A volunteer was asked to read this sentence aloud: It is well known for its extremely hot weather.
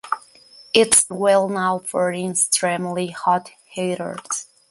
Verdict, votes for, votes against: rejected, 0, 2